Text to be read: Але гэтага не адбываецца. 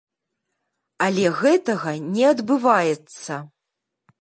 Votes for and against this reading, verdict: 2, 0, accepted